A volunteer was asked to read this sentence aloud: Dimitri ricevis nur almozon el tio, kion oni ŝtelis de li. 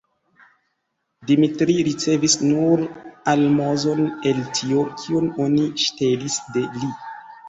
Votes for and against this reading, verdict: 2, 0, accepted